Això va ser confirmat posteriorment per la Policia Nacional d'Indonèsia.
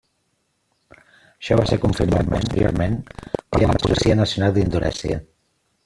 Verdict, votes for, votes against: rejected, 0, 2